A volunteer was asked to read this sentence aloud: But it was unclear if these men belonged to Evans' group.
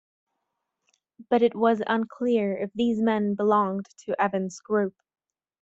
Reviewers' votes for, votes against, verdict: 2, 0, accepted